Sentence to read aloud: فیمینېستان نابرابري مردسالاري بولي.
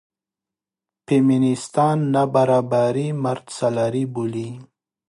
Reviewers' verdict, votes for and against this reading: accepted, 2, 1